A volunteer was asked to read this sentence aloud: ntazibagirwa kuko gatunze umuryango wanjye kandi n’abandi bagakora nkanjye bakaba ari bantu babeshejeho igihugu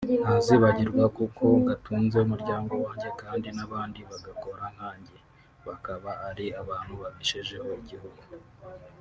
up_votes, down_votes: 1, 2